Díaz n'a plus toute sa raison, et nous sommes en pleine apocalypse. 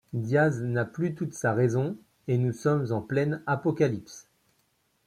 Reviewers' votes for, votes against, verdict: 0, 2, rejected